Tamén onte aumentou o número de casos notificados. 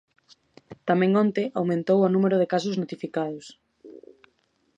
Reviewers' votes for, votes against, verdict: 2, 0, accepted